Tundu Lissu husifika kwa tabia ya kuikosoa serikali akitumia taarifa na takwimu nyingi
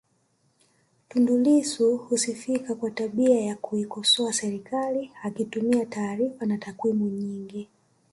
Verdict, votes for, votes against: rejected, 0, 2